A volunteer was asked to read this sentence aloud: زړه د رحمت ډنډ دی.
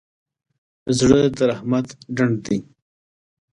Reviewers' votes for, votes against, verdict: 2, 0, accepted